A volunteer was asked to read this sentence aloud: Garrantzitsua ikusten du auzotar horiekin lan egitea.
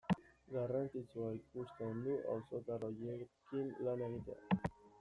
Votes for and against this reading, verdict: 2, 0, accepted